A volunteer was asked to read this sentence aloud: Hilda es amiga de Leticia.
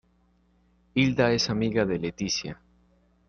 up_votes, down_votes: 2, 0